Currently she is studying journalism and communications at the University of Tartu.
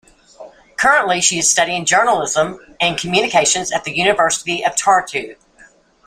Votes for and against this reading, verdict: 2, 1, accepted